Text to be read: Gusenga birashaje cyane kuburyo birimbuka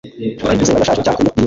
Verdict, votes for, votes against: accepted, 2, 0